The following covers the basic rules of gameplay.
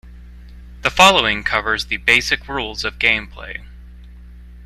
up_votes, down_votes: 2, 0